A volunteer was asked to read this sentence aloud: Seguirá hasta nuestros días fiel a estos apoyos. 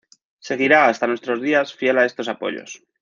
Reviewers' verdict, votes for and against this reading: accepted, 2, 0